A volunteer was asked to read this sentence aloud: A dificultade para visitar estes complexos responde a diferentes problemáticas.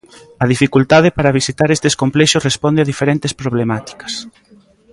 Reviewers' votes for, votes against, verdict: 2, 0, accepted